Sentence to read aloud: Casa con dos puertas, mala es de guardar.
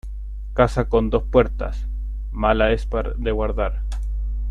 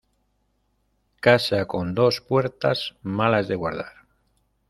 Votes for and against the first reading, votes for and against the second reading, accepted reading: 0, 2, 2, 0, second